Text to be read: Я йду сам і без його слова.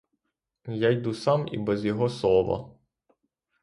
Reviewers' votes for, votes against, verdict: 0, 3, rejected